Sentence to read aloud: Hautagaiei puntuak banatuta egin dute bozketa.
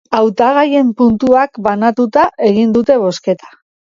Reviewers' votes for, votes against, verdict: 1, 2, rejected